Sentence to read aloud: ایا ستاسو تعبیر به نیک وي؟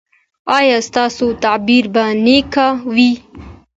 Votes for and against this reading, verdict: 2, 0, accepted